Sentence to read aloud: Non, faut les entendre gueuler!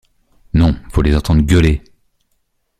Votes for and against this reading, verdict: 2, 0, accepted